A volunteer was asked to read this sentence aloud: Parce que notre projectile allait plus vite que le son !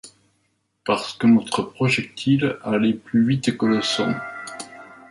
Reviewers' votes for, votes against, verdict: 0, 2, rejected